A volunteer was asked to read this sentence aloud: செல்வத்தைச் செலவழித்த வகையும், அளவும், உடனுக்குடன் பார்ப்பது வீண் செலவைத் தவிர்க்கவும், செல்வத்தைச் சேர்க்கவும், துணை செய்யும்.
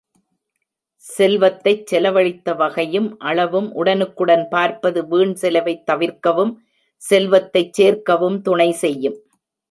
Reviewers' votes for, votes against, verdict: 2, 0, accepted